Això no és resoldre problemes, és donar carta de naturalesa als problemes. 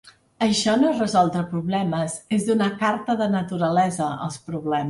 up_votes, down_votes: 1, 3